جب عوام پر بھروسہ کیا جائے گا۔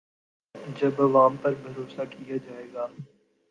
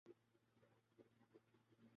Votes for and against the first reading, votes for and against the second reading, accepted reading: 4, 0, 0, 2, first